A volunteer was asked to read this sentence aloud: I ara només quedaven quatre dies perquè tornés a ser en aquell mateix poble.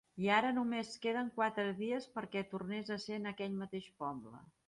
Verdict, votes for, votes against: rejected, 1, 2